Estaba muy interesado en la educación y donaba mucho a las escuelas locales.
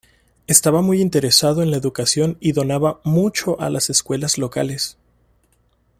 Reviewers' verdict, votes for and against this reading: accepted, 2, 0